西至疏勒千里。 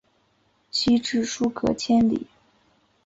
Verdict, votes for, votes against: accepted, 2, 1